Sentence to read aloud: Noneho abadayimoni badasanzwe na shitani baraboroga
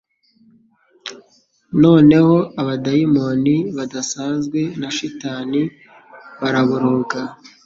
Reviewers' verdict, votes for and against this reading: accepted, 2, 0